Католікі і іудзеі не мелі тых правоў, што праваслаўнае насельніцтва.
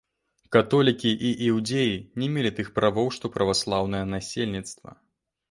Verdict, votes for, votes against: rejected, 1, 2